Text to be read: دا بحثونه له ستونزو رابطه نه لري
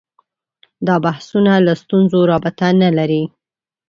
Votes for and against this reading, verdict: 2, 0, accepted